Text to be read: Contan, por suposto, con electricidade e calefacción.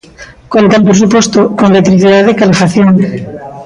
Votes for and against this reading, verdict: 0, 2, rejected